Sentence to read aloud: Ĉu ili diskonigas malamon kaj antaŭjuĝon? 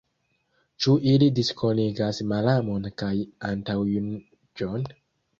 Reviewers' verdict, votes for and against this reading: rejected, 1, 2